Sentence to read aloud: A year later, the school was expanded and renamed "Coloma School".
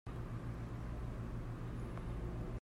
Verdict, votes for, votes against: rejected, 0, 2